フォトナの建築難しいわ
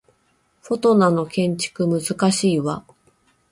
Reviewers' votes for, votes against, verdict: 2, 0, accepted